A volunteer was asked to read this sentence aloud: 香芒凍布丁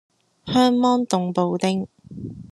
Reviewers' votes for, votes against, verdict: 2, 0, accepted